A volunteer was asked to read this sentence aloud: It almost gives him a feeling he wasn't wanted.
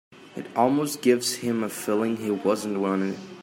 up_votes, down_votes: 2, 0